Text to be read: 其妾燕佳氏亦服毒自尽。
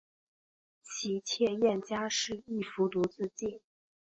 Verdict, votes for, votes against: accepted, 3, 0